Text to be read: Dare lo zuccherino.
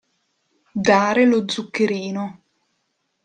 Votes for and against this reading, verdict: 3, 0, accepted